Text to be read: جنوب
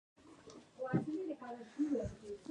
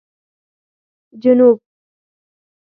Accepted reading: second